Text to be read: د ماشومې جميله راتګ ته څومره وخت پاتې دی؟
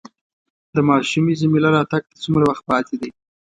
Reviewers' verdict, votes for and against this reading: accepted, 2, 0